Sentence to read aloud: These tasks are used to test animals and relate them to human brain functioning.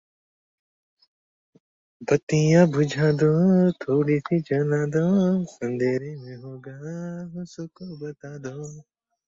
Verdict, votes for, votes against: rejected, 0, 2